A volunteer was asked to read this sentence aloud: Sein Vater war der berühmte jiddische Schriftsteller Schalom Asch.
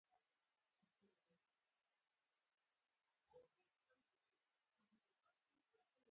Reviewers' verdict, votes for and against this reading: rejected, 0, 4